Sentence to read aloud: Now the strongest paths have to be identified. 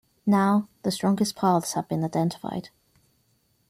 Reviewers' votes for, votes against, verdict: 1, 2, rejected